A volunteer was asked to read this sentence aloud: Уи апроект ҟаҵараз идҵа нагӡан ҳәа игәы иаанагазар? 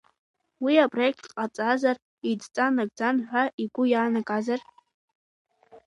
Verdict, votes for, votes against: rejected, 1, 2